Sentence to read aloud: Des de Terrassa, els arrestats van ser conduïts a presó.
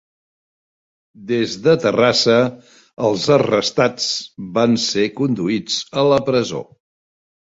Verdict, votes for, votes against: rejected, 0, 2